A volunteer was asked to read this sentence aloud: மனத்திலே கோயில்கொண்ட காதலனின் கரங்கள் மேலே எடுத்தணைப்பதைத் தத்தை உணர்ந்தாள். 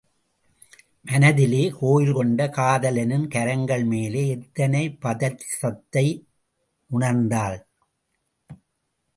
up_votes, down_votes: 1, 2